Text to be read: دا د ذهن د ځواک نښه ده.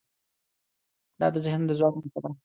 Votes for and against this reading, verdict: 1, 2, rejected